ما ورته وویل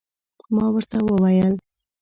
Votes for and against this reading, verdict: 2, 0, accepted